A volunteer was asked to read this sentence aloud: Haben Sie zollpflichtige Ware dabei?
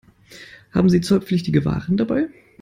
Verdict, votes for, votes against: rejected, 1, 2